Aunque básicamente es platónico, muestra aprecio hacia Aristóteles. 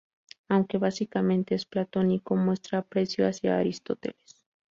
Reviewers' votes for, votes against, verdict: 2, 0, accepted